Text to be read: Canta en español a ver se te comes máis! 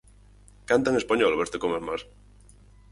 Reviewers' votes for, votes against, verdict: 0, 4, rejected